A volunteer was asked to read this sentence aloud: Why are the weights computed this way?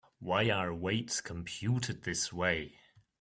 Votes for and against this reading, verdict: 0, 2, rejected